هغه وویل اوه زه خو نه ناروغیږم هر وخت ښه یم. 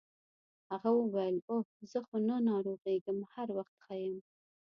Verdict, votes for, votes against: accepted, 2, 0